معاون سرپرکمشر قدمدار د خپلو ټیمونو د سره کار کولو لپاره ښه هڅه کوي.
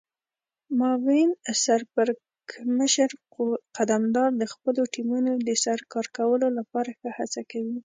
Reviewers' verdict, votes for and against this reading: rejected, 1, 2